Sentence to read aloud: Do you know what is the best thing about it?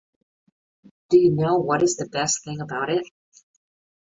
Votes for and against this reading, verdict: 2, 0, accepted